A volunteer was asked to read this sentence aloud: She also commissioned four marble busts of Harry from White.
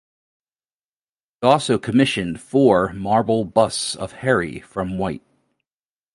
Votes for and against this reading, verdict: 0, 2, rejected